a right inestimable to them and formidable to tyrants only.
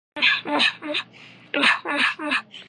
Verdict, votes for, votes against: rejected, 0, 2